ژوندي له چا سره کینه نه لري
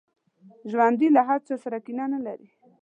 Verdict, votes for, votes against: rejected, 1, 2